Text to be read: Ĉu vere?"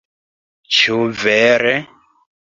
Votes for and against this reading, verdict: 2, 0, accepted